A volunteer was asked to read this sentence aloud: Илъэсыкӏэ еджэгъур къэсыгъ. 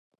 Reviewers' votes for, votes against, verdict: 0, 2, rejected